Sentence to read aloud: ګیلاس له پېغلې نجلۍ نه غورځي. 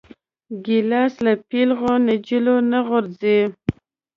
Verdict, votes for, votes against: rejected, 1, 2